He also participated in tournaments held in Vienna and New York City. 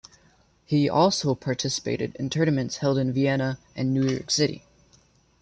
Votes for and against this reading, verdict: 2, 0, accepted